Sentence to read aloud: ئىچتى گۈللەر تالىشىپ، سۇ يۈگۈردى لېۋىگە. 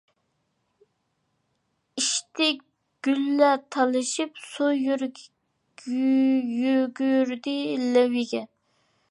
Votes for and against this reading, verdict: 0, 2, rejected